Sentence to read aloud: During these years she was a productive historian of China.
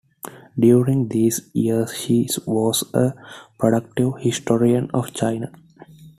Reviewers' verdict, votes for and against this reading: rejected, 0, 2